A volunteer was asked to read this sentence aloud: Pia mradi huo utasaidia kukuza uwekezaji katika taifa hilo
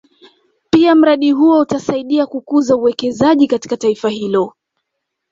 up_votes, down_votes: 2, 0